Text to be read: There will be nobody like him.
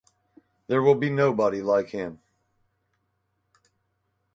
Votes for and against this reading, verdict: 4, 0, accepted